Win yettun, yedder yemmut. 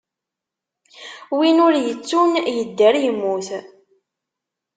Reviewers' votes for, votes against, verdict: 0, 2, rejected